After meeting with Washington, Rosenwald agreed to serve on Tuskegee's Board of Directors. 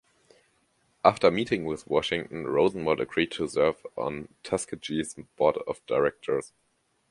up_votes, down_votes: 2, 0